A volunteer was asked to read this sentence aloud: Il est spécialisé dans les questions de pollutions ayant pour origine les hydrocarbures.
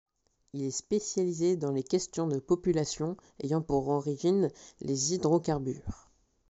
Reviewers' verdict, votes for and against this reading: rejected, 0, 2